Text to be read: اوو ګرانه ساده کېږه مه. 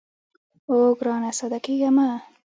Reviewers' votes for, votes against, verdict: 0, 2, rejected